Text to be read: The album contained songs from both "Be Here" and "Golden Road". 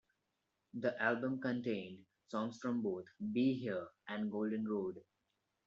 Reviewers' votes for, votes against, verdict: 1, 2, rejected